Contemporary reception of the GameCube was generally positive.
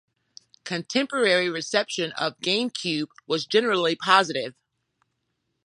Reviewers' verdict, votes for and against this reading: accepted, 2, 1